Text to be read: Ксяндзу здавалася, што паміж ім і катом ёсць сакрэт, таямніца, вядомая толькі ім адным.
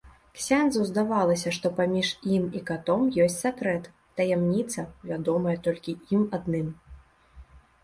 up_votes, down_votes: 2, 0